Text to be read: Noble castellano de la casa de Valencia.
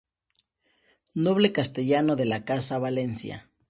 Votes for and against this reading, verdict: 2, 0, accepted